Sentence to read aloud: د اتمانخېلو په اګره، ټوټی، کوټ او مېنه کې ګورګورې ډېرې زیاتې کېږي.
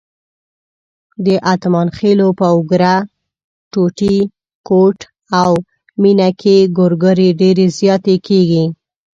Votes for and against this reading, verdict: 0, 2, rejected